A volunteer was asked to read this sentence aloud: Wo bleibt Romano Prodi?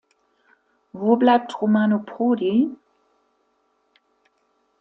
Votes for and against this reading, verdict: 2, 1, accepted